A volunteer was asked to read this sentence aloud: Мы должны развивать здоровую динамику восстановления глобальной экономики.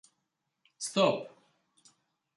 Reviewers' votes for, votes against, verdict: 0, 2, rejected